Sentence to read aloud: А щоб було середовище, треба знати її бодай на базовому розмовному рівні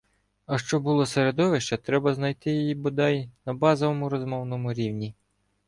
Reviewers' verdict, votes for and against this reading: rejected, 0, 2